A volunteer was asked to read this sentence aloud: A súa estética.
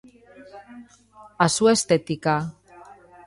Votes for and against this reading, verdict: 2, 1, accepted